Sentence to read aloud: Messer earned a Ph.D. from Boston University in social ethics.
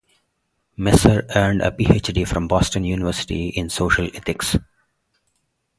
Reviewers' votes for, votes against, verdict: 2, 2, rejected